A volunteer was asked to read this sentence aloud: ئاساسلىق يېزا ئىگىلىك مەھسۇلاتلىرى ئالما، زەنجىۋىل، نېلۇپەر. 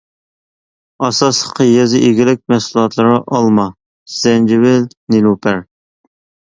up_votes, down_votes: 1, 2